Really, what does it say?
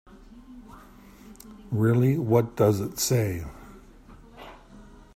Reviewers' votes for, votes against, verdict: 2, 1, accepted